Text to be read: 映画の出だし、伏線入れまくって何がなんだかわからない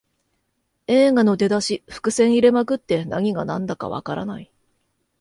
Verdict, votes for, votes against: accepted, 2, 0